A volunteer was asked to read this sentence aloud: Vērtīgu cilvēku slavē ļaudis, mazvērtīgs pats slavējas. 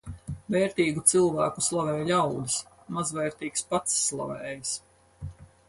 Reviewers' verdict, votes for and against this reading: accepted, 4, 0